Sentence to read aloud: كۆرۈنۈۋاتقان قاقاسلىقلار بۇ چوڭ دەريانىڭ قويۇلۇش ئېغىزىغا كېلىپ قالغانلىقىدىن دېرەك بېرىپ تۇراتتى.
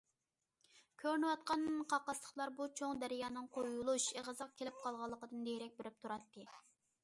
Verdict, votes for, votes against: accepted, 2, 0